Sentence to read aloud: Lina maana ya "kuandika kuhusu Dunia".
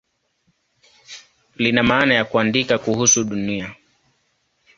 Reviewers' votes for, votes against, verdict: 2, 0, accepted